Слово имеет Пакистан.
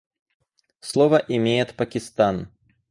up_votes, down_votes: 4, 0